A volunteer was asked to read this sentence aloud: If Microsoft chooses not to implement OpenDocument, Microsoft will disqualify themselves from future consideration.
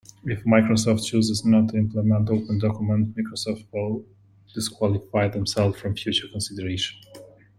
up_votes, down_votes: 2, 0